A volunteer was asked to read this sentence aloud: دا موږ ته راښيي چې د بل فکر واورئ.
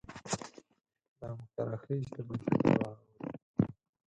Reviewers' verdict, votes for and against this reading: rejected, 2, 4